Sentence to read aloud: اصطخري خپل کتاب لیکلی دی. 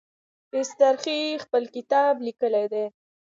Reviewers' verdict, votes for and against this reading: accepted, 2, 1